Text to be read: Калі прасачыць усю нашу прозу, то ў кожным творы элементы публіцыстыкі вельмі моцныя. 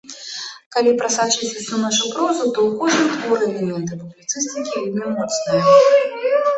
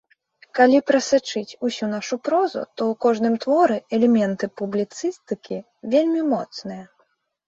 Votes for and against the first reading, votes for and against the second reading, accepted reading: 0, 2, 2, 1, second